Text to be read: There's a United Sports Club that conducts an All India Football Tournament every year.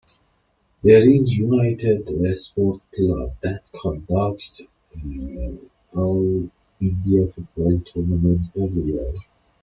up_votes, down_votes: 0, 2